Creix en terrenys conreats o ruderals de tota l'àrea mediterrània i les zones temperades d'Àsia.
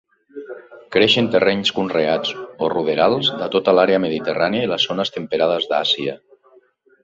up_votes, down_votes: 0, 2